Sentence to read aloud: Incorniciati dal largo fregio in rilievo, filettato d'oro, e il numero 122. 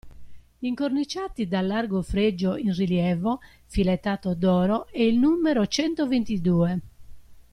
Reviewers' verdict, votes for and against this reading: rejected, 0, 2